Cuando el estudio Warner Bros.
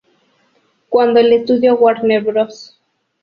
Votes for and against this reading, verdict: 2, 0, accepted